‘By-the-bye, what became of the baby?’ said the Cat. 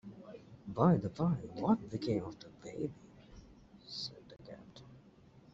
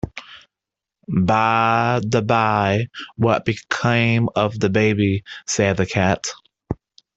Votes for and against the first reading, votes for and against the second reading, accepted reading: 1, 2, 2, 0, second